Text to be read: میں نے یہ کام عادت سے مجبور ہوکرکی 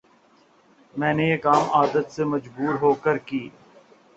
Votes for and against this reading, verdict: 2, 0, accepted